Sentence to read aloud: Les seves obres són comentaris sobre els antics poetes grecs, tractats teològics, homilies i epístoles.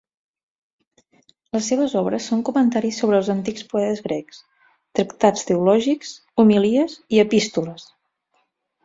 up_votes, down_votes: 2, 4